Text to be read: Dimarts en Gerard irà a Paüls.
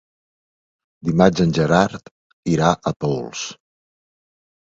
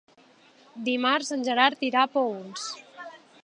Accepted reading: second